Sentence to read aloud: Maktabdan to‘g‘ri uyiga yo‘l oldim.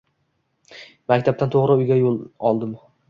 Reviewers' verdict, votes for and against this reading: rejected, 1, 2